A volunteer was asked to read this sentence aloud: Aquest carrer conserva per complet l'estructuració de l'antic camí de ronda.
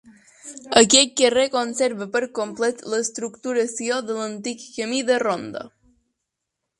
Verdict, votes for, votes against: accepted, 2, 0